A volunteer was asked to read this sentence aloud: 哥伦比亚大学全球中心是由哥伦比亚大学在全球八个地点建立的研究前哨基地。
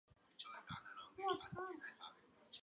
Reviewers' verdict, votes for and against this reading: rejected, 0, 2